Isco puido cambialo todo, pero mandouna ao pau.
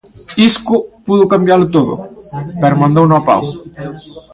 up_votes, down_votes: 0, 2